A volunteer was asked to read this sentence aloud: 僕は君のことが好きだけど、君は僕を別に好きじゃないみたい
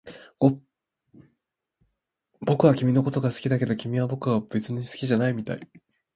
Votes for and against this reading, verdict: 0, 2, rejected